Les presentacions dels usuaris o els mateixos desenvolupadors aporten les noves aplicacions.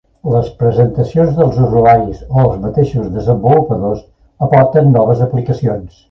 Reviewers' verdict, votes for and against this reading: rejected, 0, 3